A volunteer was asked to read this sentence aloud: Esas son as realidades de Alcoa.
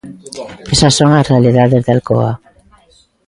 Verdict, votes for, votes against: accepted, 2, 0